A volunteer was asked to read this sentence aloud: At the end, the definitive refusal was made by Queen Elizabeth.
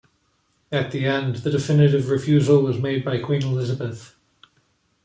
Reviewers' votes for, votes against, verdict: 2, 0, accepted